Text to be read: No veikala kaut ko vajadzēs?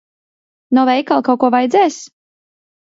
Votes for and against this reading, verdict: 2, 0, accepted